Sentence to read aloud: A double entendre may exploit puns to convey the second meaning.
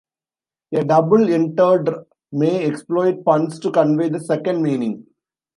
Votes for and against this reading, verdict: 1, 2, rejected